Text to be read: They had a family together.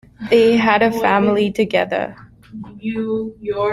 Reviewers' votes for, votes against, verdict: 1, 2, rejected